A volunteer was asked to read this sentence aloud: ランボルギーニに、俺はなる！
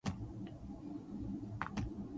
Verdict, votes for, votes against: rejected, 1, 2